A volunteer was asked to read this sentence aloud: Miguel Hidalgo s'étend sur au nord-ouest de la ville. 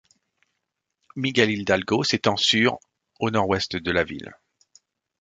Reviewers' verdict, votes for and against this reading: rejected, 0, 2